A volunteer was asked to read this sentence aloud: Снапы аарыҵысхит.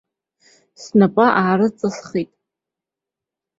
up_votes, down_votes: 2, 0